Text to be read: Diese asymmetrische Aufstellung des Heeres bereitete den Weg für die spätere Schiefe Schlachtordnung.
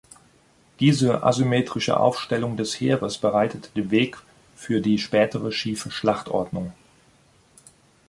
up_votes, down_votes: 2, 0